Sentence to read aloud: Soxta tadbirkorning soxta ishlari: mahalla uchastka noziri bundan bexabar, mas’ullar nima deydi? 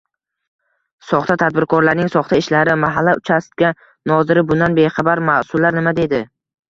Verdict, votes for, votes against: accepted, 2, 0